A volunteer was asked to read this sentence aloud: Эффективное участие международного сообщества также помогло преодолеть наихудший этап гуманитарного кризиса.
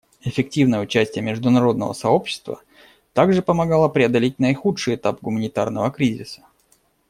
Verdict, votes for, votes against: rejected, 0, 2